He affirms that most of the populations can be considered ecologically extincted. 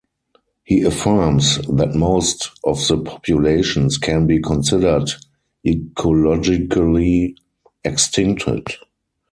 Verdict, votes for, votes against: accepted, 4, 0